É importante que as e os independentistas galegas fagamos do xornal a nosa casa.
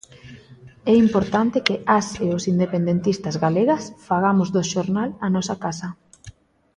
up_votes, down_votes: 2, 0